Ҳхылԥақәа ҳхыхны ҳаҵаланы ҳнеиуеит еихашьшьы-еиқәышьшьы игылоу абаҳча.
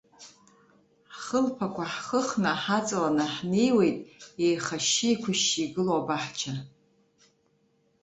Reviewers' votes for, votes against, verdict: 1, 2, rejected